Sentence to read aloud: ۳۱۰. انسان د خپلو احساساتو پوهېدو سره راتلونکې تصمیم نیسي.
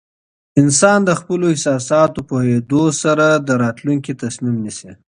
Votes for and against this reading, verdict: 0, 2, rejected